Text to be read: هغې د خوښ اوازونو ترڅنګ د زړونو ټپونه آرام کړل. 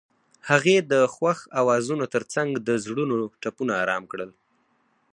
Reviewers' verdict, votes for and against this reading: accepted, 4, 0